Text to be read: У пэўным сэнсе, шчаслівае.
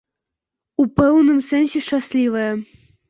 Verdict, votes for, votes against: accepted, 2, 1